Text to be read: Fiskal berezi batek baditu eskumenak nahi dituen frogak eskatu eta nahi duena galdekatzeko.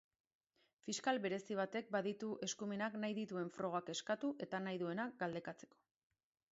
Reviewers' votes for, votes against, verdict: 2, 0, accepted